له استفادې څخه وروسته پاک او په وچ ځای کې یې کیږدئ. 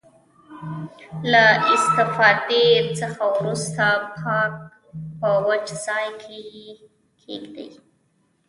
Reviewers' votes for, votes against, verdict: 0, 2, rejected